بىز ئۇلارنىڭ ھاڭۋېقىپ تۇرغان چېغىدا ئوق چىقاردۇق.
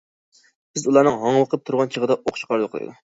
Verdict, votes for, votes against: rejected, 1, 2